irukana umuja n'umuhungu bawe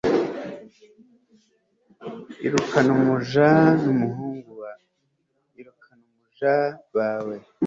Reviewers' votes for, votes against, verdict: 2, 3, rejected